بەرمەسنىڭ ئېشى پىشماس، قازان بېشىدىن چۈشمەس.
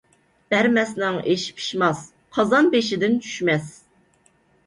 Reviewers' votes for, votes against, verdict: 2, 0, accepted